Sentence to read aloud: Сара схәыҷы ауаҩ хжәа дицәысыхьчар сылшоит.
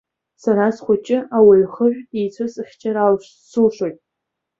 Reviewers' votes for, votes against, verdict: 2, 1, accepted